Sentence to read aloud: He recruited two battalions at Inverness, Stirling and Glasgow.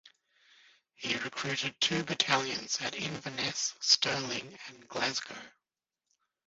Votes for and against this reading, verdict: 3, 2, accepted